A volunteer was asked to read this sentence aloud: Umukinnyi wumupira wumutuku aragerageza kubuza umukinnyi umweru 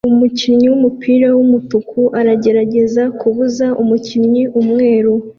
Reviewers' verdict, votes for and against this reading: accepted, 2, 0